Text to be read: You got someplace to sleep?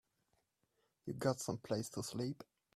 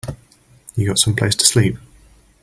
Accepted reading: first